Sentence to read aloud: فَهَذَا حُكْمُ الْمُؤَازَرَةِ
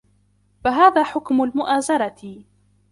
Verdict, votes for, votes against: accepted, 2, 1